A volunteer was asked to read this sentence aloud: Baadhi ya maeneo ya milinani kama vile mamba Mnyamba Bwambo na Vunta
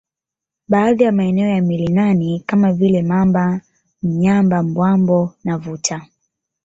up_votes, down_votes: 2, 0